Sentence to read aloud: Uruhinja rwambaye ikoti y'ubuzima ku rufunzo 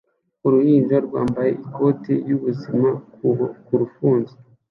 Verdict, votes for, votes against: rejected, 1, 2